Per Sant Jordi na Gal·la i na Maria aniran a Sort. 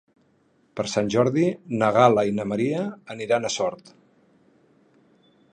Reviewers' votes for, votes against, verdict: 4, 0, accepted